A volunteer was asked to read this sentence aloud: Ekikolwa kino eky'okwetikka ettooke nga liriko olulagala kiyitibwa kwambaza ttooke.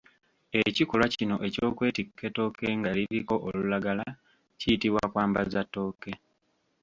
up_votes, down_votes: 2, 0